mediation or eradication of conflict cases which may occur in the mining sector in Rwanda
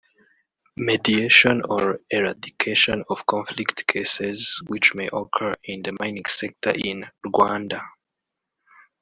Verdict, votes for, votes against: rejected, 0, 2